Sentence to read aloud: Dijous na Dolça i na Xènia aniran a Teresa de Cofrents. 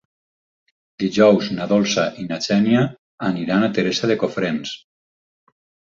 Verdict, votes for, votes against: accepted, 6, 0